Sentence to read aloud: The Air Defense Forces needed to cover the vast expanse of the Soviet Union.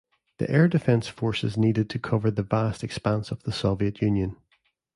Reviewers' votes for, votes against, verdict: 2, 0, accepted